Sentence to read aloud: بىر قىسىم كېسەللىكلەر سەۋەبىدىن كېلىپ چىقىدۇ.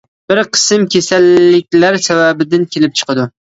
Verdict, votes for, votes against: accepted, 2, 0